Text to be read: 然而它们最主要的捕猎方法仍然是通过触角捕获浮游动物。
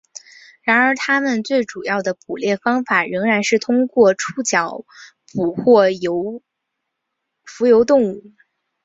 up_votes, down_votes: 2, 0